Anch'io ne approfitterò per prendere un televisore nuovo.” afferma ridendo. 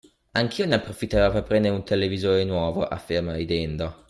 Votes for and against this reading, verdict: 2, 0, accepted